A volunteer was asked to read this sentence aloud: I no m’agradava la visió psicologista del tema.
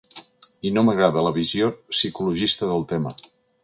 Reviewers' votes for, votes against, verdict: 0, 2, rejected